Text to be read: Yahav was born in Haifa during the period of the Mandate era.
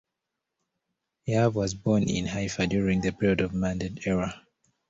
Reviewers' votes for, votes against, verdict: 0, 2, rejected